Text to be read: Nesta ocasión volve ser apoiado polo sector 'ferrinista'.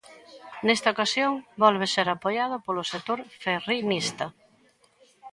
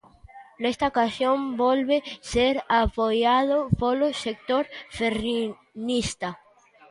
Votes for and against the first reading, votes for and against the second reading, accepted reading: 2, 1, 0, 2, first